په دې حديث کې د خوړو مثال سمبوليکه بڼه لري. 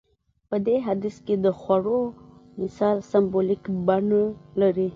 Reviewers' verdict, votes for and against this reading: accepted, 2, 0